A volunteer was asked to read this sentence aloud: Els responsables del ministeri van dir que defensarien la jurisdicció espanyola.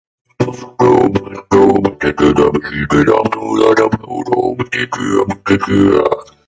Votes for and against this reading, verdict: 0, 2, rejected